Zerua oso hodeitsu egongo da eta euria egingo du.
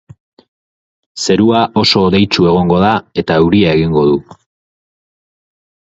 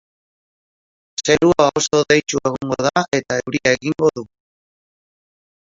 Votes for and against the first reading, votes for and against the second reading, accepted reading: 4, 0, 0, 2, first